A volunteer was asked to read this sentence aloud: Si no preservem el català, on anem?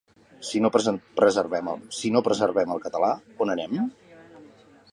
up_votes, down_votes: 1, 2